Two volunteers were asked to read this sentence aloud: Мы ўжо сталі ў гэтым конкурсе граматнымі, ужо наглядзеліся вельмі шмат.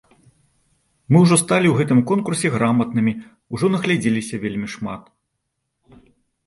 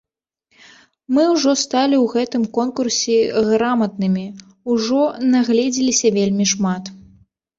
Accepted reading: first